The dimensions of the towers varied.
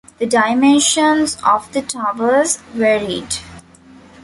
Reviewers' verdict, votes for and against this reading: accepted, 2, 0